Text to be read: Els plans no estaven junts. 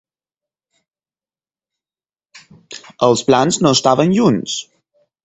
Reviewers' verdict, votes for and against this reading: accepted, 4, 0